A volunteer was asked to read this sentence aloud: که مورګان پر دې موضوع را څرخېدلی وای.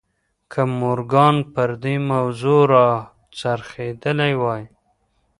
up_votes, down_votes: 2, 1